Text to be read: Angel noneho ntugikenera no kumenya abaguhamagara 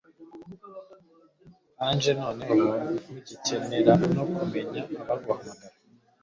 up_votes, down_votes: 1, 2